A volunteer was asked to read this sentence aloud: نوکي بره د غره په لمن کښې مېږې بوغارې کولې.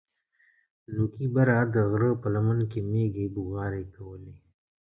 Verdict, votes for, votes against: accepted, 3, 0